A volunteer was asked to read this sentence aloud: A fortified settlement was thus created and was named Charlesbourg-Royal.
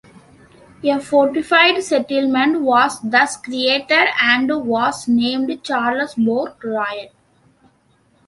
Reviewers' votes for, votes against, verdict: 2, 0, accepted